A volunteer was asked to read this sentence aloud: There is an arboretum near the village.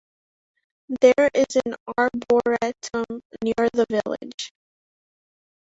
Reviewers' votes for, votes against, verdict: 1, 2, rejected